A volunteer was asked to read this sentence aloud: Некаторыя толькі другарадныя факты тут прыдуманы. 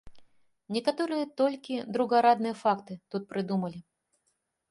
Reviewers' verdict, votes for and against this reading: rejected, 1, 2